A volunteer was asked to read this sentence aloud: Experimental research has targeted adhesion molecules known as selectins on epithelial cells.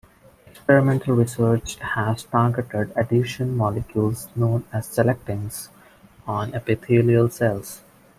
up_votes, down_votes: 2, 0